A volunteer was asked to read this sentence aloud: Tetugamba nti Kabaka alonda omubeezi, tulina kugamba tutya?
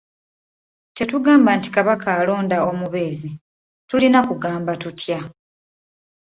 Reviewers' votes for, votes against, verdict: 2, 0, accepted